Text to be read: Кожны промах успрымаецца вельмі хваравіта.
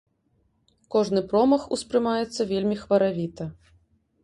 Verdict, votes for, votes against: accepted, 2, 0